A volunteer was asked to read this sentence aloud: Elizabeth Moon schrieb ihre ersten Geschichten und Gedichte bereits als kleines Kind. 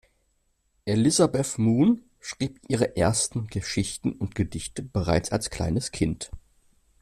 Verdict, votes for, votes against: accepted, 2, 0